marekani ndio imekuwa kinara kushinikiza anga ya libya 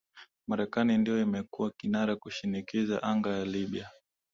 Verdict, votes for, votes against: accepted, 2, 1